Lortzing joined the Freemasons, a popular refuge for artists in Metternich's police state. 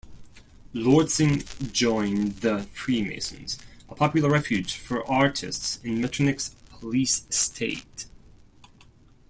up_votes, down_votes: 2, 0